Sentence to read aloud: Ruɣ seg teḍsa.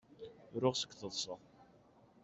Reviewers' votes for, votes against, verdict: 2, 0, accepted